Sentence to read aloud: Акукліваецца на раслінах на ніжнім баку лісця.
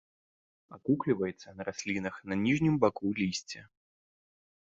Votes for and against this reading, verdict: 2, 0, accepted